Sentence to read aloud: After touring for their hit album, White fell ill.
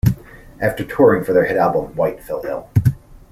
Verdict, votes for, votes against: accepted, 2, 0